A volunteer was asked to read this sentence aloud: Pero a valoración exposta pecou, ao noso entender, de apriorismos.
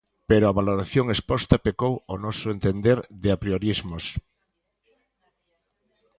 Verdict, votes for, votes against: accepted, 2, 1